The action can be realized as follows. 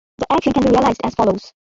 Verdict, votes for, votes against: rejected, 0, 2